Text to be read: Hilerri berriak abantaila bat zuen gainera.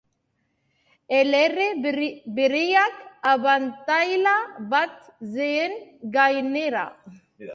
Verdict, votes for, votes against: rejected, 0, 2